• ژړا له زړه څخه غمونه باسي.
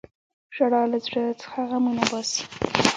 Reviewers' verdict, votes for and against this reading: rejected, 0, 2